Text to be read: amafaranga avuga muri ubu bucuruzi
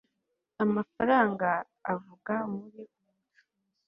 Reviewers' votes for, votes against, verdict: 0, 2, rejected